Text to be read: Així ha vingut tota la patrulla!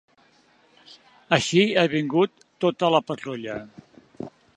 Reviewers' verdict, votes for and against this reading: accepted, 2, 0